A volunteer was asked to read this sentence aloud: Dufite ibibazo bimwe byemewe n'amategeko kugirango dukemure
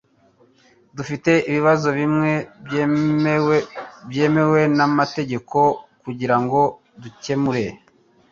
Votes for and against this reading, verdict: 1, 2, rejected